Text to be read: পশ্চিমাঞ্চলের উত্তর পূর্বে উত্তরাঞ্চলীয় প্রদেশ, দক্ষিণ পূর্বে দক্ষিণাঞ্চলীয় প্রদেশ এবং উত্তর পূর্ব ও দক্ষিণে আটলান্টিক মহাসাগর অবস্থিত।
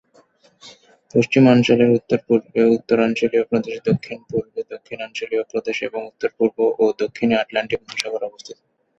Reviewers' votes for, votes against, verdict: 0, 2, rejected